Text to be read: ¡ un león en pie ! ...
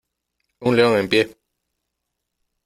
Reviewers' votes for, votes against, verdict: 2, 0, accepted